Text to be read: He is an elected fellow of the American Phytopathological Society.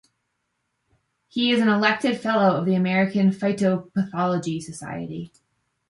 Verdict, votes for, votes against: rejected, 0, 2